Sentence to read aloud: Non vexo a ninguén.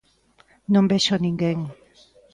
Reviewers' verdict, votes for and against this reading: rejected, 1, 2